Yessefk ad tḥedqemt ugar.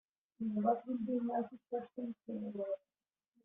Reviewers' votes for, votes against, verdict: 0, 2, rejected